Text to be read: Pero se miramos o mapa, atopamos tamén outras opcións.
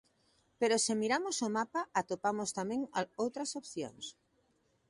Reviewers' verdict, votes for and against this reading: rejected, 1, 2